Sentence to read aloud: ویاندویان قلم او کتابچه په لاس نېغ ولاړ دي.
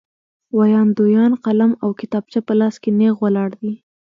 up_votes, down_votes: 1, 2